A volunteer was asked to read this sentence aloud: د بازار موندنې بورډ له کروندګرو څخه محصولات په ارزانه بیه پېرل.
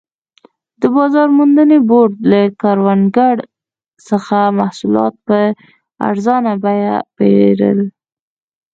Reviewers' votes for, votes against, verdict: 2, 1, accepted